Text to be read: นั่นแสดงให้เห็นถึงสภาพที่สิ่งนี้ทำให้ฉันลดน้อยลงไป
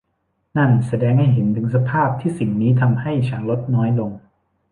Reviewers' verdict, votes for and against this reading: rejected, 0, 2